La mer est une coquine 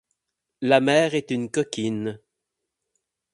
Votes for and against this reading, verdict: 8, 0, accepted